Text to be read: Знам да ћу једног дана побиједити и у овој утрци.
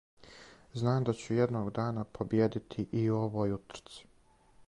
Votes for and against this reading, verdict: 4, 0, accepted